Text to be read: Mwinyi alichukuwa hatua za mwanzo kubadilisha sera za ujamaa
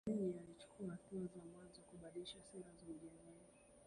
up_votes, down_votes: 0, 2